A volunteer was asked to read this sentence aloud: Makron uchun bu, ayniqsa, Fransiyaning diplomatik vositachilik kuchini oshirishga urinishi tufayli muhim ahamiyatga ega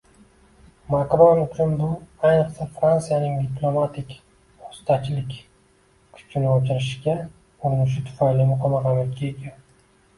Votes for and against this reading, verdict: 2, 0, accepted